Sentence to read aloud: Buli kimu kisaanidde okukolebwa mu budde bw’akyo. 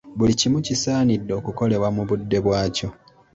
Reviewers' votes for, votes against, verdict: 2, 0, accepted